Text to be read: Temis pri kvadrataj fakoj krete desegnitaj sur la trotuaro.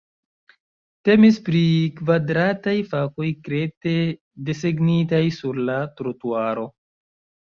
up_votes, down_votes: 1, 2